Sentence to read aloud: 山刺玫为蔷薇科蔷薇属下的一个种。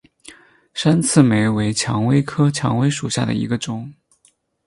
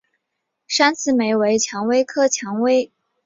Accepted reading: first